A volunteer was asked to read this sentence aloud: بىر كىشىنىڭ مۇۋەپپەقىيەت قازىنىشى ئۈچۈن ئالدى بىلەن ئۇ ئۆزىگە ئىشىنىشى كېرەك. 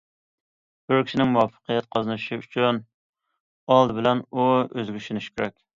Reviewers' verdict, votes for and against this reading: accepted, 2, 0